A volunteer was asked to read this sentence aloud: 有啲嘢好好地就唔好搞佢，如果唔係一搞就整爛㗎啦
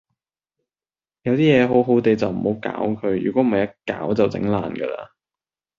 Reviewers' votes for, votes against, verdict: 2, 0, accepted